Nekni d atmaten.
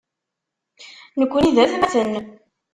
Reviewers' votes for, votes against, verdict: 1, 2, rejected